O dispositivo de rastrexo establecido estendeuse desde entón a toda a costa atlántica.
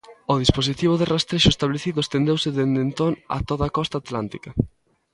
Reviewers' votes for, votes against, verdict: 1, 2, rejected